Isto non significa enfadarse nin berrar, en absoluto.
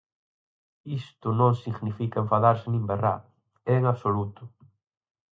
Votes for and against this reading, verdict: 4, 0, accepted